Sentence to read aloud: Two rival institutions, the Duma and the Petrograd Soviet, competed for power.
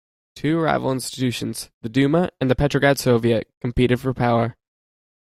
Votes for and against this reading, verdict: 2, 0, accepted